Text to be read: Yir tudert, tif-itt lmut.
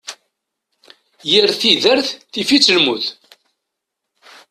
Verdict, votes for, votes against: rejected, 1, 2